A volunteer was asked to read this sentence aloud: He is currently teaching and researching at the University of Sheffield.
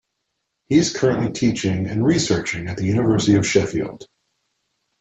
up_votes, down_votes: 2, 0